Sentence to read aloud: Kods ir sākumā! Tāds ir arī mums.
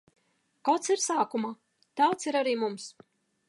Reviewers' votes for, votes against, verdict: 3, 0, accepted